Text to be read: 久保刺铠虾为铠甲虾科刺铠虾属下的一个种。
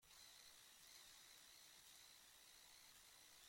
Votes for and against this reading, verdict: 0, 2, rejected